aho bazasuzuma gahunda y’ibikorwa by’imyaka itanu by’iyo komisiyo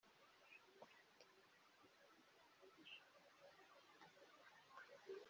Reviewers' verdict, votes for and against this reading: rejected, 0, 2